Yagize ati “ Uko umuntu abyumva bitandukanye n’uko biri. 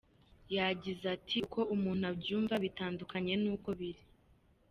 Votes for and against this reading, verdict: 2, 0, accepted